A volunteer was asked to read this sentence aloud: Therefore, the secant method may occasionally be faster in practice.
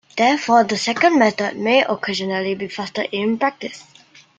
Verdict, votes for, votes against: accepted, 2, 0